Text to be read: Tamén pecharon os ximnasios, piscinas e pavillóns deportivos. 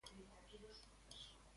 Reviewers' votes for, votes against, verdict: 0, 2, rejected